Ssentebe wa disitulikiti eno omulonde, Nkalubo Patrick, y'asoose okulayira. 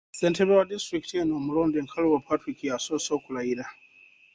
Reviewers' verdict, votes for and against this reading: accepted, 2, 0